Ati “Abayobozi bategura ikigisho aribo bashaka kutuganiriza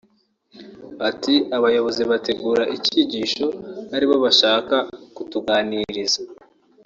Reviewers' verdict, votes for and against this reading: accepted, 2, 0